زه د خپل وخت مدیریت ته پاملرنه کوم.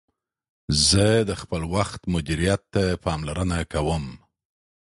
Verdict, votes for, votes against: accepted, 2, 0